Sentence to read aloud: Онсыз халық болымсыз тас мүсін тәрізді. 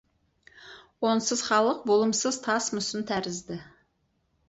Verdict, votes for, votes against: accepted, 4, 0